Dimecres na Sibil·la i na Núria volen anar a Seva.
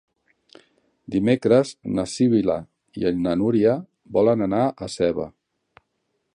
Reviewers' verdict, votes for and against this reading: rejected, 1, 3